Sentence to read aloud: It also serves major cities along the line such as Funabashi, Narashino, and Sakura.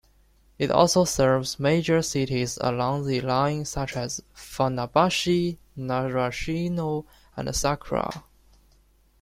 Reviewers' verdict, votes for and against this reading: rejected, 1, 2